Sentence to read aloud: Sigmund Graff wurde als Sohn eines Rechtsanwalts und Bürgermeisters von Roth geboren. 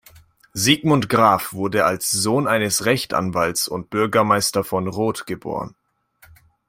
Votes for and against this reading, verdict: 0, 2, rejected